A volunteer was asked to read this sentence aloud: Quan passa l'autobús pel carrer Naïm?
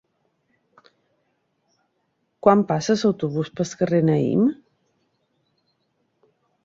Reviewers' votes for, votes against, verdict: 1, 2, rejected